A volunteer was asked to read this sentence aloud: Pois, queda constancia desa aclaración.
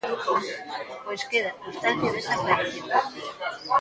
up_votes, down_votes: 1, 2